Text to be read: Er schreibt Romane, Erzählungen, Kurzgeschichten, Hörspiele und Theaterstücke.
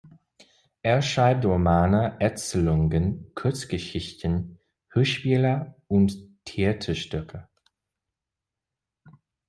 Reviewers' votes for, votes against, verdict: 1, 2, rejected